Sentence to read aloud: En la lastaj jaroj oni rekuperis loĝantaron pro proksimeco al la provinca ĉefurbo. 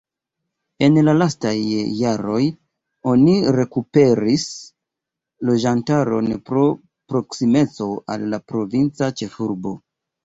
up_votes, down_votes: 0, 2